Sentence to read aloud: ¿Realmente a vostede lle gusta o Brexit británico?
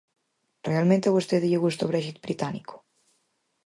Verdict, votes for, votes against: accepted, 4, 0